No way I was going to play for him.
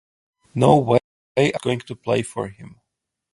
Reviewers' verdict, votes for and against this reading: rejected, 0, 2